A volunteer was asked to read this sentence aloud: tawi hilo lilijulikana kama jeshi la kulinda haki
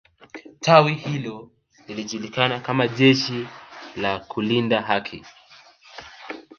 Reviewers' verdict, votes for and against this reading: rejected, 0, 2